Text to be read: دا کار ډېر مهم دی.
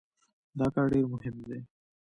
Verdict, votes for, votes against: accepted, 2, 1